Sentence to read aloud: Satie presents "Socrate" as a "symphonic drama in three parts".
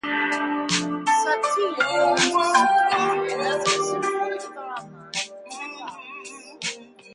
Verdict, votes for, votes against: rejected, 0, 2